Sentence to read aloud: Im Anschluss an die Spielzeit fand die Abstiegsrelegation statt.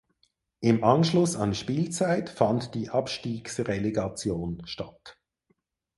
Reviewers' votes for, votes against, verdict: 2, 4, rejected